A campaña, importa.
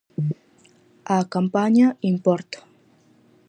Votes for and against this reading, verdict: 4, 0, accepted